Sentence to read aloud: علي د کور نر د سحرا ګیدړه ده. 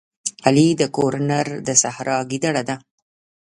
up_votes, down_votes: 1, 2